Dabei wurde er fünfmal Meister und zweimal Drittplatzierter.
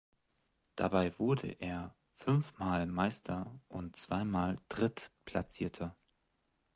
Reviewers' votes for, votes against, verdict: 2, 0, accepted